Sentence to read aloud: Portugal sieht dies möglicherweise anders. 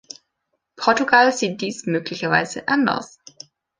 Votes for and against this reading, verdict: 2, 0, accepted